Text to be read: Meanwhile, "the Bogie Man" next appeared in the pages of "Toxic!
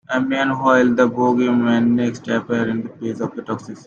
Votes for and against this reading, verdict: 1, 2, rejected